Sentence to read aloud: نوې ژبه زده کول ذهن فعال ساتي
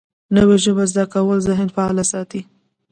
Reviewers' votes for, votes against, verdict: 1, 2, rejected